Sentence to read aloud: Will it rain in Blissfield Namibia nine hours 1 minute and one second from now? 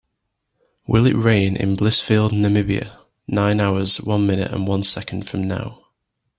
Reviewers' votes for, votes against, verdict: 0, 2, rejected